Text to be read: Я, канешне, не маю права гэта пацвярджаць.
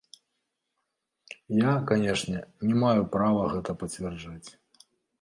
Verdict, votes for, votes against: accepted, 2, 1